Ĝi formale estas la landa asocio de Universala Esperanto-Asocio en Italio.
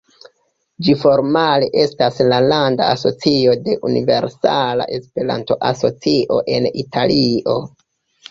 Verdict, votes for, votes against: accepted, 2, 0